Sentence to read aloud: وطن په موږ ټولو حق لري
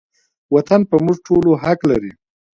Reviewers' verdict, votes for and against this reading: accepted, 2, 0